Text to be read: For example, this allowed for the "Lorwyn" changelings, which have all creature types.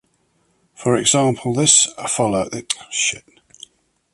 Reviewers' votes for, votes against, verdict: 0, 2, rejected